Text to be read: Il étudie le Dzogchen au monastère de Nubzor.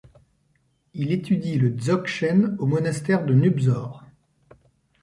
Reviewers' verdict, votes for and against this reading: accepted, 2, 0